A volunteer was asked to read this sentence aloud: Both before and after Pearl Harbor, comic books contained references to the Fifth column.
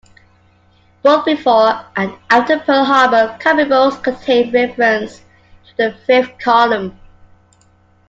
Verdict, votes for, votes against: accepted, 2, 1